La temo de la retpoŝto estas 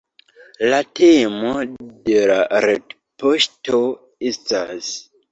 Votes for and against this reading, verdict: 2, 1, accepted